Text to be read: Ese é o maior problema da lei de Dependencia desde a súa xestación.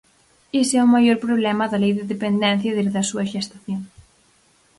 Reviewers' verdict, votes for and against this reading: rejected, 2, 4